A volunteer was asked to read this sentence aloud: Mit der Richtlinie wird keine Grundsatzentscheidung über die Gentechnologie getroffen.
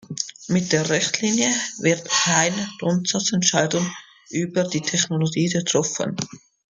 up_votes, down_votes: 0, 2